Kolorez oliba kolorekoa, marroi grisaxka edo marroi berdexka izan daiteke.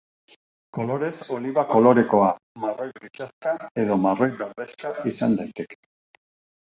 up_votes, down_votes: 1, 2